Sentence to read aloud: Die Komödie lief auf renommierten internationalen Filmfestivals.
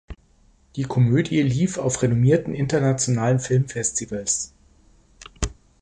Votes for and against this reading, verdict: 2, 0, accepted